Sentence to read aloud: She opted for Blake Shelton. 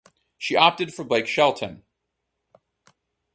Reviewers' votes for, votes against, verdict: 4, 0, accepted